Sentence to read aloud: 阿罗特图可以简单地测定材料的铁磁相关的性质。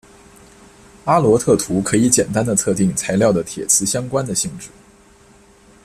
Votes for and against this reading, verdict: 2, 0, accepted